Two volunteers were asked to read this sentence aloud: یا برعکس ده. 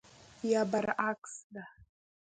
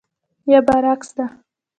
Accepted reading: first